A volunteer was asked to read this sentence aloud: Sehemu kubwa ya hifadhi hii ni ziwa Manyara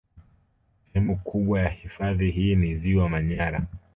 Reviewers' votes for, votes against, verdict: 2, 0, accepted